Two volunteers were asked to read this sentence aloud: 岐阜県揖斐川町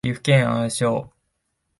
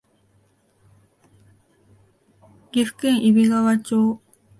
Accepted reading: second